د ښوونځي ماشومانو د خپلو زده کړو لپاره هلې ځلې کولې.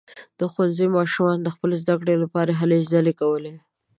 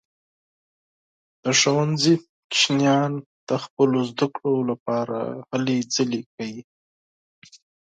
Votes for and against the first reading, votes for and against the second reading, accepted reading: 2, 0, 2, 4, first